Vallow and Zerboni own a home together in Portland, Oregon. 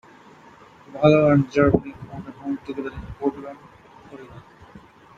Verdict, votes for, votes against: rejected, 0, 2